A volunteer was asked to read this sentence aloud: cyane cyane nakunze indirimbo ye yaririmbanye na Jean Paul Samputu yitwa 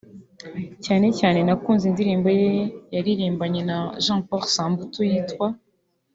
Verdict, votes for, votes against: accepted, 3, 1